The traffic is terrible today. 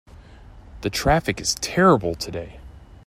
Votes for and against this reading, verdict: 2, 0, accepted